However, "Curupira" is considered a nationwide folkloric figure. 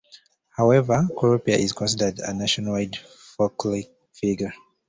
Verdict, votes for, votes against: rejected, 0, 2